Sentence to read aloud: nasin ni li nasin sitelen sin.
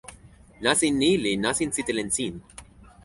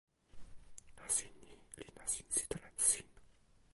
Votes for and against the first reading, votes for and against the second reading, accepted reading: 4, 0, 1, 2, first